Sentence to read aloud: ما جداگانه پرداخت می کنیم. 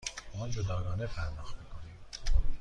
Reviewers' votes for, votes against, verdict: 2, 0, accepted